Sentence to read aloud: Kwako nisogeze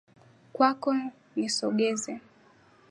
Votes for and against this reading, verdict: 12, 3, accepted